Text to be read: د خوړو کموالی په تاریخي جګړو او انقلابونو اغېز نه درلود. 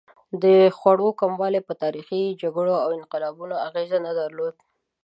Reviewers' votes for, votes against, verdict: 2, 0, accepted